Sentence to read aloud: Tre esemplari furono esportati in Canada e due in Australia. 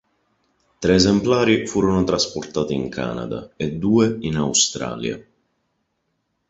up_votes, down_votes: 0, 2